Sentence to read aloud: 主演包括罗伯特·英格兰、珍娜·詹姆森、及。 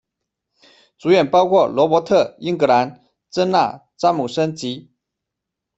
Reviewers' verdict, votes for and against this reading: accepted, 2, 1